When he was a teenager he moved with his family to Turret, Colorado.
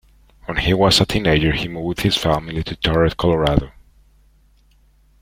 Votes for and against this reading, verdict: 2, 0, accepted